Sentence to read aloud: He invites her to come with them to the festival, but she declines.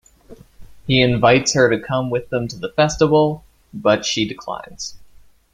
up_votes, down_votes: 2, 0